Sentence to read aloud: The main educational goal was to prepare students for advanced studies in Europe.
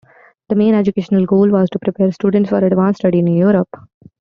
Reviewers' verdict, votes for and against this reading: rejected, 0, 2